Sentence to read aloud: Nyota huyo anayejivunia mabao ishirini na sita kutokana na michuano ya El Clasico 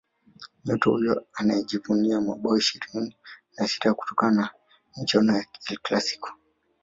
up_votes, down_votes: 1, 2